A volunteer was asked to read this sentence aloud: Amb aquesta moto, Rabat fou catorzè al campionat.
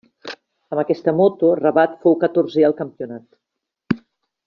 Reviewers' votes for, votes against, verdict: 2, 1, accepted